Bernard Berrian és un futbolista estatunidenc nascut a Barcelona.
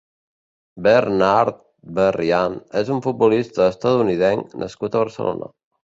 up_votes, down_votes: 2, 0